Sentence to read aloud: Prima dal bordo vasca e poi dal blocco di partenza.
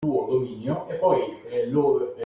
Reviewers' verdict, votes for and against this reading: rejected, 0, 2